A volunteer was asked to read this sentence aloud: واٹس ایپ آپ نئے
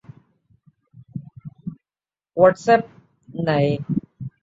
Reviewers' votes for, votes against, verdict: 0, 2, rejected